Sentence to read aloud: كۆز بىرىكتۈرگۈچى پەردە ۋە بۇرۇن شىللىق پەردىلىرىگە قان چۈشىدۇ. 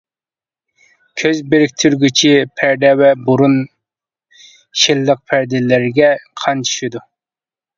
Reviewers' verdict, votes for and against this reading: accepted, 2, 0